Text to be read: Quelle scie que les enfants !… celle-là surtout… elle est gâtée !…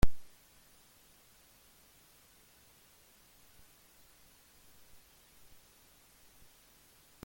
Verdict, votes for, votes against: rejected, 0, 2